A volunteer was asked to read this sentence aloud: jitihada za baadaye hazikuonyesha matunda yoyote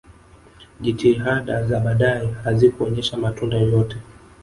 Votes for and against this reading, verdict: 1, 2, rejected